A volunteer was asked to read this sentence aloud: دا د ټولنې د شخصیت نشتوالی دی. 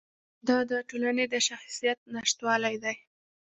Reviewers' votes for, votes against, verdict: 2, 0, accepted